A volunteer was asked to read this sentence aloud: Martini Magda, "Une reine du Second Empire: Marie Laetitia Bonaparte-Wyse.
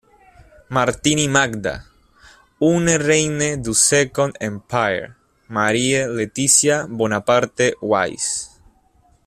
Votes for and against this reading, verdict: 0, 2, rejected